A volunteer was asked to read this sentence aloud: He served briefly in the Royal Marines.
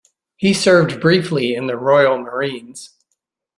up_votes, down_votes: 2, 0